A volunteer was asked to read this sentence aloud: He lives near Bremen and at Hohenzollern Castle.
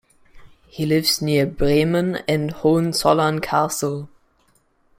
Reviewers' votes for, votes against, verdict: 0, 2, rejected